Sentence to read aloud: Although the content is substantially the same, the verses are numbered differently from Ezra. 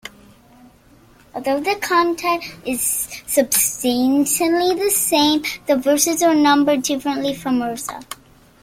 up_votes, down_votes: 0, 2